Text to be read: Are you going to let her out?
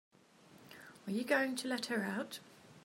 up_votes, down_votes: 3, 0